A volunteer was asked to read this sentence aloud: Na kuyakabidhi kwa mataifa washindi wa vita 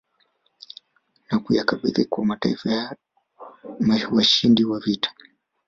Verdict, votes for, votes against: rejected, 1, 2